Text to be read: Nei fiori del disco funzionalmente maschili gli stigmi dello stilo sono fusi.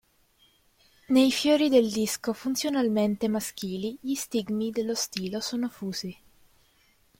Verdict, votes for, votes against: accepted, 3, 0